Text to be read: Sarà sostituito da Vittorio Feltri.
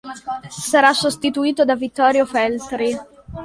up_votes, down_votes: 2, 0